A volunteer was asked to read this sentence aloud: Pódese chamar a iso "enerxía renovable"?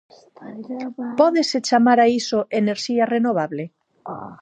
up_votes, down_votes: 0, 4